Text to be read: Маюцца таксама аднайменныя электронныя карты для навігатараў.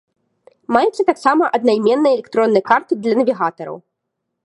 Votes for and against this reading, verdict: 2, 0, accepted